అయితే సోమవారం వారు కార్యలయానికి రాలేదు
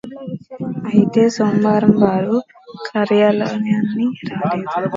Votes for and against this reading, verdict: 1, 2, rejected